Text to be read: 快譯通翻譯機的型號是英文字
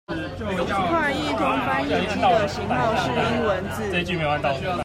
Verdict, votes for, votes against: rejected, 0, 2